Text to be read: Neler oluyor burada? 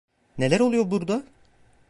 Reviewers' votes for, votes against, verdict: 2, 1, accepted